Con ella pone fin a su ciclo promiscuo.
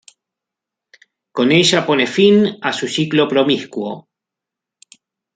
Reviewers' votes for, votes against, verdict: 0, 2, rejected